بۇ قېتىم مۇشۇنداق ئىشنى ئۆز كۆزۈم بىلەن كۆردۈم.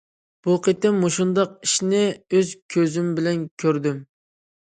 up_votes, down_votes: 2, 0